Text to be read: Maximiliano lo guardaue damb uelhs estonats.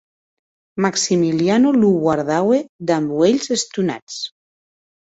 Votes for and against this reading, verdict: 4, 0, accepted